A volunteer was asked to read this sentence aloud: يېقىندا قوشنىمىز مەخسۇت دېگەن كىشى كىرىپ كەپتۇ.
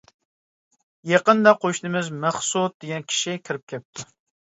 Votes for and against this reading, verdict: 2, 0, accepted